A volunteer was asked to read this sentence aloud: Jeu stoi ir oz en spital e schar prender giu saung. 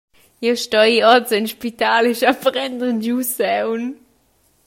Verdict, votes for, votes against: accepted, 2, 1